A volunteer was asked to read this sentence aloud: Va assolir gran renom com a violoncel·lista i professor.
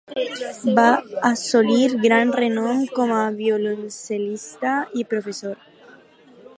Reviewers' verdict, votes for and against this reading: rejected, 0, 4